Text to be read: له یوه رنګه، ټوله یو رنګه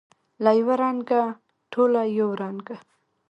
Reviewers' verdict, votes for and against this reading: rejected, 1, 2